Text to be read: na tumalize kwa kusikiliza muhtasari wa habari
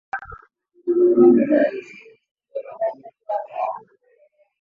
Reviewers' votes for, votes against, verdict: 0, 2, rejected